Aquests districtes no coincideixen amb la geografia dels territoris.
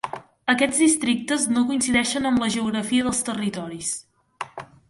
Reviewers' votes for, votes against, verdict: 3, 0, accepted